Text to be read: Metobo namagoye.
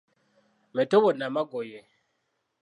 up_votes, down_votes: 2, 0